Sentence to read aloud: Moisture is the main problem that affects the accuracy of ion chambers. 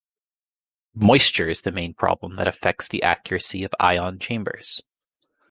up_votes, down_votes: 2, 0